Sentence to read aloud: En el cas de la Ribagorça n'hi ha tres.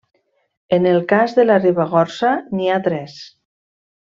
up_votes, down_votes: 2, 0